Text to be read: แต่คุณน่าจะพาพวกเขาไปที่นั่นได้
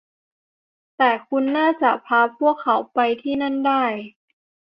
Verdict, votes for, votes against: accepted, 2, 0